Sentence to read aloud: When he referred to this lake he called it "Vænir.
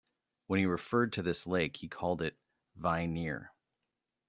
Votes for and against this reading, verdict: 1, 2, rejected